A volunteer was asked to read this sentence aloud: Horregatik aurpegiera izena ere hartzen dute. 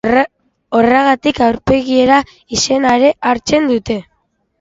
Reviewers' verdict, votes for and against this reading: rejected, 0, 2